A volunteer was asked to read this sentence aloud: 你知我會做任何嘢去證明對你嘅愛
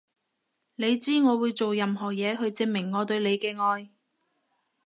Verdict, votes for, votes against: rejected, 1, 2